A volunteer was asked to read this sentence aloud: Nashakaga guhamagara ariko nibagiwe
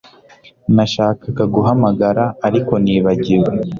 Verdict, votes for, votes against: accepted, 2, 0